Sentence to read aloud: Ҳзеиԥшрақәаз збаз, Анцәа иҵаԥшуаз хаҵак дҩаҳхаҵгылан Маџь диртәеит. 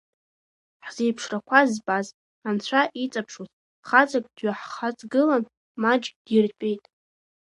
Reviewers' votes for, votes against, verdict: 0, 2, rejected